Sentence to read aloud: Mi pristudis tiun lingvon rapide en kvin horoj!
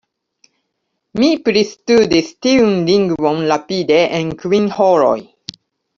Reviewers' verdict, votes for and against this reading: rejected, 0, 2